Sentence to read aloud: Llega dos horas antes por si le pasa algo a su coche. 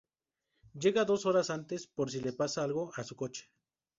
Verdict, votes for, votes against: accepted, 2, 0